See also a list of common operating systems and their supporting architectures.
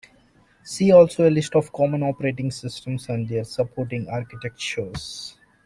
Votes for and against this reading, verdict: 2, 0, accepted